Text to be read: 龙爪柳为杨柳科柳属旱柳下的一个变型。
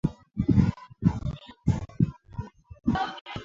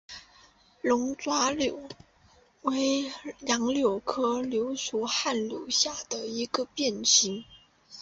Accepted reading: second